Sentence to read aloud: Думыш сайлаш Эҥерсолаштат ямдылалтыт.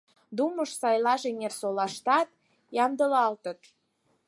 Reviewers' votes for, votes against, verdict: 4, 0, accepted